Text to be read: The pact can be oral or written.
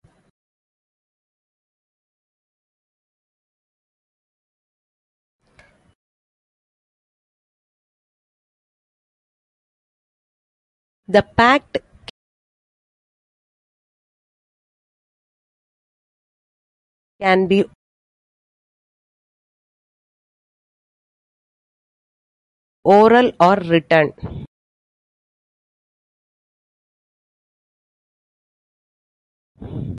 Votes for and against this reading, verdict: 1, 2, rejected